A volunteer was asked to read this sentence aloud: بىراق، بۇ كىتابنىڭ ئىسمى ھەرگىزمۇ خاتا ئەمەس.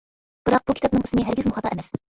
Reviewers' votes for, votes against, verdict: 2, 0, accepted